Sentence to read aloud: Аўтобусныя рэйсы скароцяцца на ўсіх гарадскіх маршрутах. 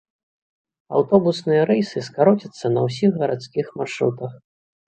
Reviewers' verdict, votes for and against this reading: accepted, 3, 0